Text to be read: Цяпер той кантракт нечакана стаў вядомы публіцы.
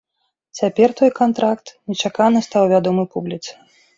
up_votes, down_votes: 2, 0